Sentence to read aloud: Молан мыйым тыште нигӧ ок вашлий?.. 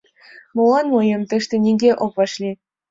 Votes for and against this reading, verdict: 2, 0, accepted